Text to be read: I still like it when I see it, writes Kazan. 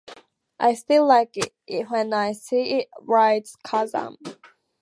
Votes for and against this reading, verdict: 2, 2, rejected